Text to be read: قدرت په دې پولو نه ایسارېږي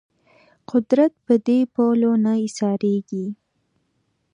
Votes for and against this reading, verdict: 2, 0, accepted